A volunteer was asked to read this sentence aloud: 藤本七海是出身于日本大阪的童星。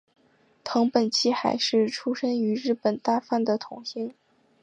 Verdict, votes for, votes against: accepted, 2, 0